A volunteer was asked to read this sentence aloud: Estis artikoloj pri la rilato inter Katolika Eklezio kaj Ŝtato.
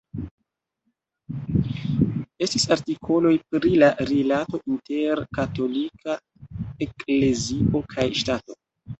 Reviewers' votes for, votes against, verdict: 0, 2, rejected